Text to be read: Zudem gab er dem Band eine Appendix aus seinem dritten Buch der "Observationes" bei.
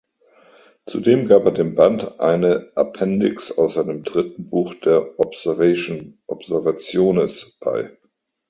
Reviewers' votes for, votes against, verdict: 0, 2, rejected